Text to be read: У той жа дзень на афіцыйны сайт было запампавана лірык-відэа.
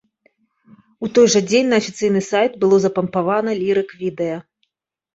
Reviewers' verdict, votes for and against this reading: accepted, 2, 0